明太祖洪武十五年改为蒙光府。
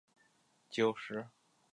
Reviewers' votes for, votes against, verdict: 1, 2, rejected